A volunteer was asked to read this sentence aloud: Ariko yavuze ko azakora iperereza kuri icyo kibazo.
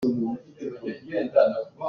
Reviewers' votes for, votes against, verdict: 0, 2, rejected